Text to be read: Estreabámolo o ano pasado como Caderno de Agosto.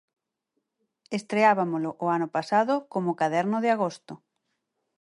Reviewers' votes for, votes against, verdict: 4, 0, accepted